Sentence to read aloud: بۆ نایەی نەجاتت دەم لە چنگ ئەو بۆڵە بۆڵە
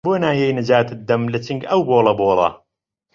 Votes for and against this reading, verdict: 2, 0, accepted